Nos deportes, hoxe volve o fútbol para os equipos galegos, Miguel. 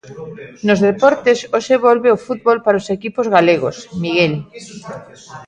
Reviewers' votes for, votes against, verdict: 2, 0, accepted